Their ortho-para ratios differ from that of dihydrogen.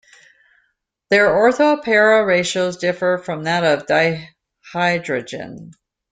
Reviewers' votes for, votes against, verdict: 1, 2, rejected